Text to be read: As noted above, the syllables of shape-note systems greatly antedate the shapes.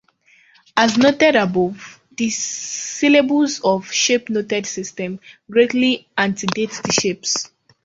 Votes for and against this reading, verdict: 1, 2, rejected